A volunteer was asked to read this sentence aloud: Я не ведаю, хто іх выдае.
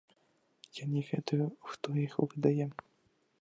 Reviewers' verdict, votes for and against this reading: rejected, 0, 2